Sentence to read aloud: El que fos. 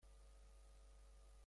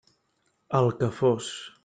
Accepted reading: second